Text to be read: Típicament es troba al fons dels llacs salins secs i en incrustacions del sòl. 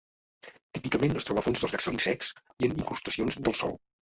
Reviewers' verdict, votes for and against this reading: rejected, 1, 2